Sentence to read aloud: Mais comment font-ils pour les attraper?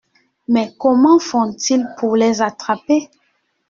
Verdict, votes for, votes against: accepted, 2, 0